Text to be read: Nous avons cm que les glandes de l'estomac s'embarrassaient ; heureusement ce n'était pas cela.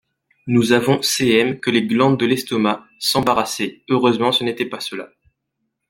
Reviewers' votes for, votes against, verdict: 1, 2, rejected